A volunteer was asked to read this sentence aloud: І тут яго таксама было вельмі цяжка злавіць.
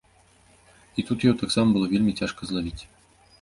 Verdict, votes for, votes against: rejected, 0, 2